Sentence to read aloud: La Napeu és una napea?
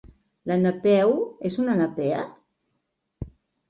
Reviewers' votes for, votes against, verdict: 3, 0, accepted